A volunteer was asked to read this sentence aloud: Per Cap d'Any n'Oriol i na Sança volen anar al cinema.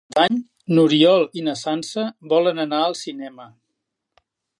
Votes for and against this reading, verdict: 0, 3, rejected